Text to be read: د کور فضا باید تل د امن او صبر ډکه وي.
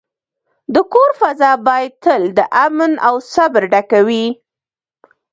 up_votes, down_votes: 1, 2